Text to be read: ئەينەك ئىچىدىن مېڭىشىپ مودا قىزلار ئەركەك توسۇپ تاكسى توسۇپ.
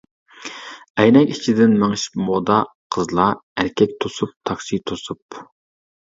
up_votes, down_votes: 2, 1